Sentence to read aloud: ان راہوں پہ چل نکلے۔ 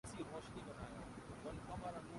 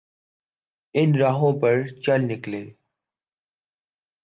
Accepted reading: second